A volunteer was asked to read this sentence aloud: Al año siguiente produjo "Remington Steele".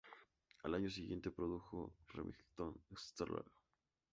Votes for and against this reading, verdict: 0, 2, rejected